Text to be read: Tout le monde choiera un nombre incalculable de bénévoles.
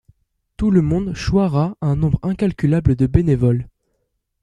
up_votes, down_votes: 2, 0